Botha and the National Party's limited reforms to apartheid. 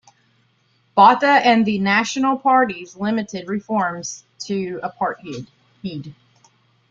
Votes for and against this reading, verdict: 1, 2, rejected